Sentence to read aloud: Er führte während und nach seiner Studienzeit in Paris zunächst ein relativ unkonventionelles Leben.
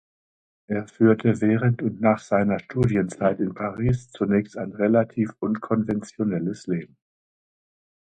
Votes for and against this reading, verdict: 2, 0, accepted